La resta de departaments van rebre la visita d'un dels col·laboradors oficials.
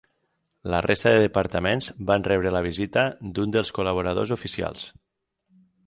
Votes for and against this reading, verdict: 6, 0, accepted